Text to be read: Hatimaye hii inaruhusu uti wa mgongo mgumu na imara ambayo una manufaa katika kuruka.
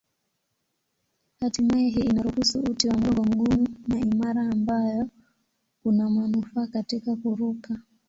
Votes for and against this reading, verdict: 4, 4, rejected